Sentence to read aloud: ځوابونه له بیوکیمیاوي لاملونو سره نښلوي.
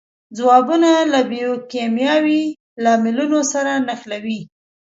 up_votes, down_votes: 2, 1